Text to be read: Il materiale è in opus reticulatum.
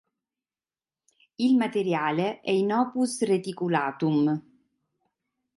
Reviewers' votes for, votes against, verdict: 2, 0, accepted